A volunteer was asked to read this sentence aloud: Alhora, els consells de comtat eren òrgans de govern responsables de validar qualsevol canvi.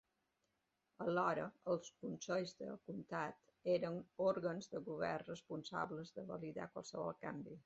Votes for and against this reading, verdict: 2, 0, accepted